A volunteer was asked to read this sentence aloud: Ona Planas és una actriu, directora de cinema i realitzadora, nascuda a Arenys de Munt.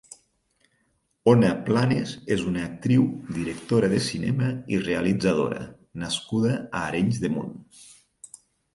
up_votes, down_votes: 2, 4